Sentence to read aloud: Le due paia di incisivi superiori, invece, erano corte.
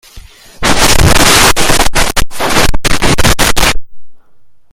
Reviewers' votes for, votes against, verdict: 0, 2, rejected